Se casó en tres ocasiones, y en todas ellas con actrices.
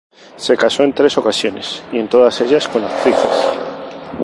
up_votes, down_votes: 2, 0